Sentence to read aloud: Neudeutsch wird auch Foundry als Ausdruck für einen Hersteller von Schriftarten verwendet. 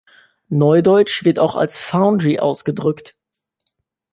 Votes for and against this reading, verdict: 0, 2, rejected